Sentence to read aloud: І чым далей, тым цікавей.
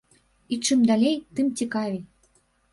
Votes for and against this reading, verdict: 2, 0, accepted